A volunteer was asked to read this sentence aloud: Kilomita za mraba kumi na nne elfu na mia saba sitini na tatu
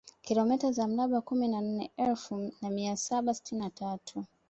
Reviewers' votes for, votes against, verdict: 2, 0, accepted